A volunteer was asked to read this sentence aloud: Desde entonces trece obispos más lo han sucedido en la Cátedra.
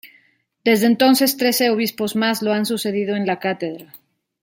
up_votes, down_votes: 2, 0